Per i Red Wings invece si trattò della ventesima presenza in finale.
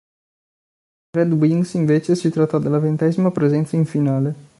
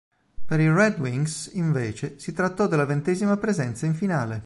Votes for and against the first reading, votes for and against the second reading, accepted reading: 0, 2, 2, 0, second